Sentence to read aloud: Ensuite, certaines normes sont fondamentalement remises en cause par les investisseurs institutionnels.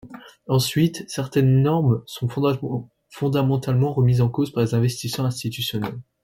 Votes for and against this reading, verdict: 0, 2, rejected